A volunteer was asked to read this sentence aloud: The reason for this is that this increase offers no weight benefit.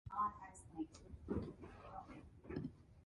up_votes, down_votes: 0, 2